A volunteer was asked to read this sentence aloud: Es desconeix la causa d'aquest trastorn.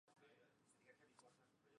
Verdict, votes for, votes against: rejected, 0, 2